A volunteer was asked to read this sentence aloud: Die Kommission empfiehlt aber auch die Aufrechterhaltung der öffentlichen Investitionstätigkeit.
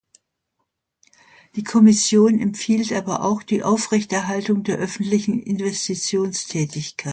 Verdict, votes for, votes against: rejected, 0, 2